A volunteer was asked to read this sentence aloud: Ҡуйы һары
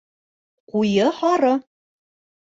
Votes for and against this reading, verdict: 2, 0, accepted